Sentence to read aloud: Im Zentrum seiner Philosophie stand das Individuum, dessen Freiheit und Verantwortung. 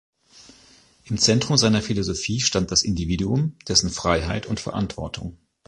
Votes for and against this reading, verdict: 2, 0, accepted